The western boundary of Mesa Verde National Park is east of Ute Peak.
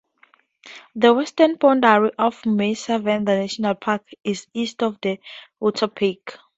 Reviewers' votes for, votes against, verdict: 2, 0, accepted